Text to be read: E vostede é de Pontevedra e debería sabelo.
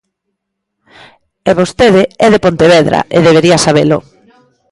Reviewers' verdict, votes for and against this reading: rejected, 1, 2